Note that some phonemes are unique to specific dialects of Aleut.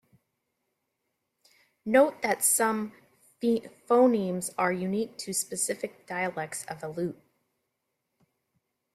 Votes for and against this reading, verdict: 0, 2, rejected